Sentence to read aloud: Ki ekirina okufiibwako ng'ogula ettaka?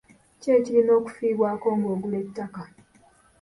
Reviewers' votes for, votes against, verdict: 0, 2, rejected